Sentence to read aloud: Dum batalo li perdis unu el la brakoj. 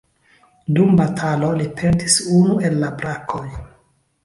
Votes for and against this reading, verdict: 0, 2, rejected